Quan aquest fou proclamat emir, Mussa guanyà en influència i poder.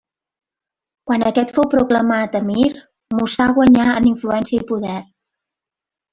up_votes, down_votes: 1, 2